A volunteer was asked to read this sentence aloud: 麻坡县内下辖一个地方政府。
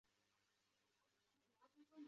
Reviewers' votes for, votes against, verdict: 0, 2, rejected